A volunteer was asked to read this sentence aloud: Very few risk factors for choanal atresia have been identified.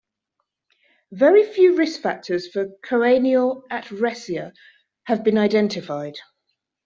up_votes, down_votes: 3, 0